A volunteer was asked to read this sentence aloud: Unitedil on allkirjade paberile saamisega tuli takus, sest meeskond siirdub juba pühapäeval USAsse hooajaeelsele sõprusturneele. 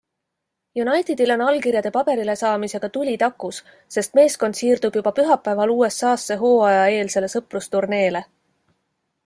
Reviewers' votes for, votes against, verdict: 2, 0, accepted